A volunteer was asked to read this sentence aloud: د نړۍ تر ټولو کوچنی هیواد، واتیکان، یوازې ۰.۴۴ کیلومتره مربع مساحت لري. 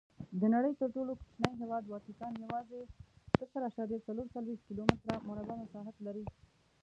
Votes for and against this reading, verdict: 0, 2, rejected